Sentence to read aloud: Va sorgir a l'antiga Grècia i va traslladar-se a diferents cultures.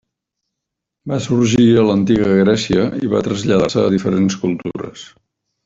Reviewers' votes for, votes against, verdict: 3, 0, accepted